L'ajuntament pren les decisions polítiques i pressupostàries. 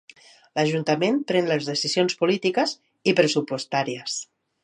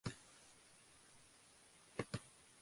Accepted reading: first